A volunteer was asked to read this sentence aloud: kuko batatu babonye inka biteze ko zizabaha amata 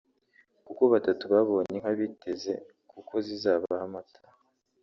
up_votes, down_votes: 0, 2